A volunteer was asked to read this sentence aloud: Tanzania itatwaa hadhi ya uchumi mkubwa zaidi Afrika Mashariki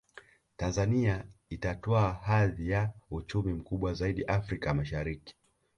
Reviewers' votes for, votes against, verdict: 2, 1, accepted